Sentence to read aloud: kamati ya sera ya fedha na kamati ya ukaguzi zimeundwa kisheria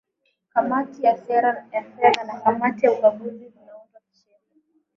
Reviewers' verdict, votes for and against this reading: rejected, 0, 2